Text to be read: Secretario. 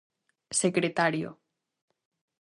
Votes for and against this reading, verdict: 2, 0, accepted